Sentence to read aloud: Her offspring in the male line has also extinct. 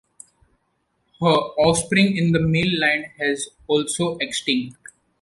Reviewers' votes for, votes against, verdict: 2, 0, accepted